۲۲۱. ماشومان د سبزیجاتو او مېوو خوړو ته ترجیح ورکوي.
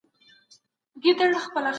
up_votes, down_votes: 0, 2